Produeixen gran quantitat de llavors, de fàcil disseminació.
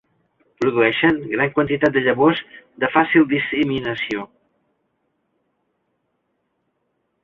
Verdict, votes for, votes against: rejected, 1, 2